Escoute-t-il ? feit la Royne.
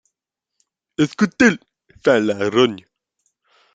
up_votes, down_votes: 0, 2